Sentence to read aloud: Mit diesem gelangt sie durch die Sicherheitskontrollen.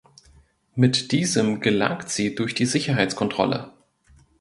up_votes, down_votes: 0, 2